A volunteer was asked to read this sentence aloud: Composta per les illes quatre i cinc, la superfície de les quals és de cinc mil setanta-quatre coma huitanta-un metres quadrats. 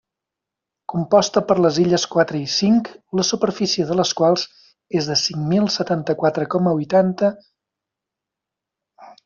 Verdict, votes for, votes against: rejected, 1, 2